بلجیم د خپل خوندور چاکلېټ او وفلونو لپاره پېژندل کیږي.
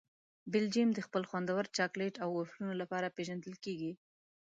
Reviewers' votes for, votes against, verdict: 2, 0, accepted